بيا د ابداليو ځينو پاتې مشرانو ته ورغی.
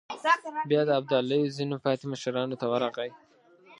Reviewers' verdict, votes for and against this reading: rejected, 0, 3